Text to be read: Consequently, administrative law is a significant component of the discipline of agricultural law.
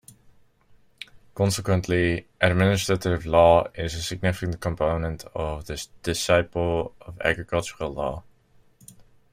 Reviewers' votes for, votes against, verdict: 1, 2, rejected